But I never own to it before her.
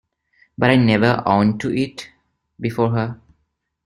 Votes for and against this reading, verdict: 1, 2, rejected